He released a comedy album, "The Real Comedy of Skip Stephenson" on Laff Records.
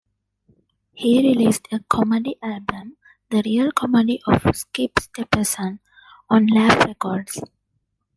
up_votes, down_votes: 2, 1